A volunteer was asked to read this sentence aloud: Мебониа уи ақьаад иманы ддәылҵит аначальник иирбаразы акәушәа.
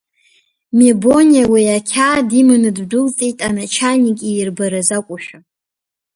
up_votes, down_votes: 2, 0